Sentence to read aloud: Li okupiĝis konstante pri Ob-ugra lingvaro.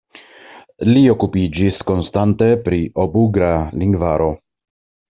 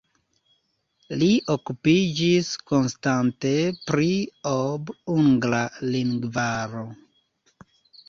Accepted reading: first